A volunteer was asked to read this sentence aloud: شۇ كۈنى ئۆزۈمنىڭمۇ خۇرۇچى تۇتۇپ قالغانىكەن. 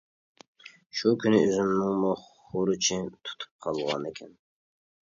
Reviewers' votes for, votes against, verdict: 2, 1, accepted